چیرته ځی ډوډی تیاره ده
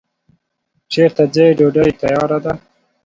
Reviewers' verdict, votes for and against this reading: accepted, 2, 0